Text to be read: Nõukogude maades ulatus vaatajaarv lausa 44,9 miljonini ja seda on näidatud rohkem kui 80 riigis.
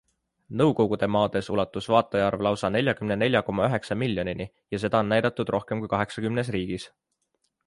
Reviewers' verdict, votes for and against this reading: rejected, 0, 2